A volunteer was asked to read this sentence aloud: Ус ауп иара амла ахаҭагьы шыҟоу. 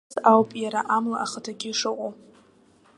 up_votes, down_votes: 1, 2